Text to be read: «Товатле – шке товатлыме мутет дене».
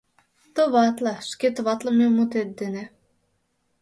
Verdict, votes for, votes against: accepted, 2, 1